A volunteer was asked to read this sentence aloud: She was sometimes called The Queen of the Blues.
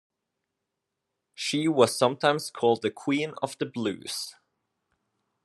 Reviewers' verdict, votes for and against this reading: accepted, 2, 0